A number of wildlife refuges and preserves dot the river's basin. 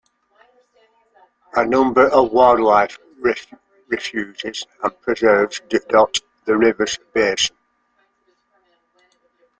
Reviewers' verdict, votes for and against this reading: rejected, 1, 2